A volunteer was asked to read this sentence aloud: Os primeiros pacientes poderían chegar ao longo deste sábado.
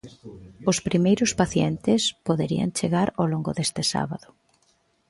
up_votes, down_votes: 1, 2